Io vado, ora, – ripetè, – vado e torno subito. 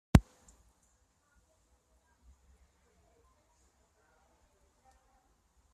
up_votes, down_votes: 0, 2